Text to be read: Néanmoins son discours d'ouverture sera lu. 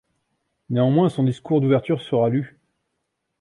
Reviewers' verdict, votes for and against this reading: accepted, 2, 1